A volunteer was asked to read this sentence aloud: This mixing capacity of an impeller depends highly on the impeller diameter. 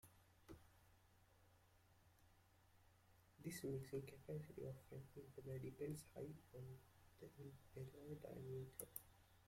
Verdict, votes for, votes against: rejected, 0, 2